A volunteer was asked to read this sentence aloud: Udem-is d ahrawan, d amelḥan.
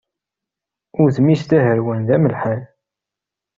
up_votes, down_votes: 0, 2